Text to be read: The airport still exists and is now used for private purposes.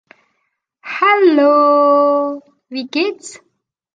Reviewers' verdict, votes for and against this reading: rejected, 0, 2